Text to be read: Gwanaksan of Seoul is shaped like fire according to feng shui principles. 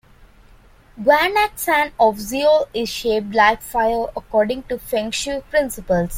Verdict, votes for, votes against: rejected, 0, 2